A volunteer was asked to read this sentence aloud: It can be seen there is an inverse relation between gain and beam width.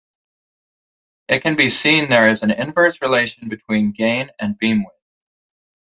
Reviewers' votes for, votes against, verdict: 1, 2, rejected